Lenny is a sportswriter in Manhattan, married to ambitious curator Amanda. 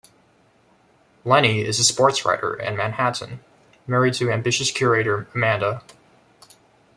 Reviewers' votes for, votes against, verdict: 1, 2, rejected